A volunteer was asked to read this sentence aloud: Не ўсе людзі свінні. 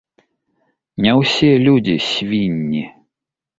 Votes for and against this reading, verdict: 2, 0, accepted